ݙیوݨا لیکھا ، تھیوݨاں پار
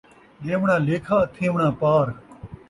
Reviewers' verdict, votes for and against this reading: accepted, 2, 0